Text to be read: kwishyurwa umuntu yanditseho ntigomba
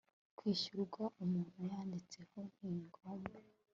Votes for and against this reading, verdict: 3, 0, accepted